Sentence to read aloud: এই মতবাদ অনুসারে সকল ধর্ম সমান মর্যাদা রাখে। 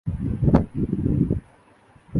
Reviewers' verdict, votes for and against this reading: rejected, 0, 3